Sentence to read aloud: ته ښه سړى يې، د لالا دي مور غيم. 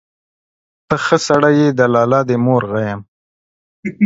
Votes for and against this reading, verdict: 2, 1, accepted